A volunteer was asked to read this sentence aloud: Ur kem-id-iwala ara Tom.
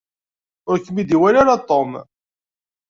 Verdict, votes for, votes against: accepted, 2, 0